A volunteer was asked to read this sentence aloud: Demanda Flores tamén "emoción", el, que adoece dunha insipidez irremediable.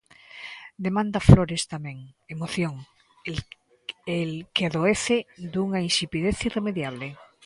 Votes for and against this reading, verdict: 1, 2, rejected